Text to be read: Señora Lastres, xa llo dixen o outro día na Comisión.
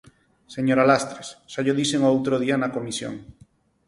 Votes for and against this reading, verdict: 4, 0, accepted